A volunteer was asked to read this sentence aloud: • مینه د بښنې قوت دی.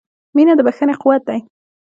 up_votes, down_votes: 2, 1